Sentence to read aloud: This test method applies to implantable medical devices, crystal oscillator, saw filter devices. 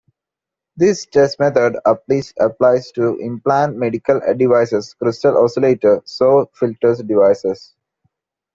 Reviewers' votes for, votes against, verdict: 1, 2, rejected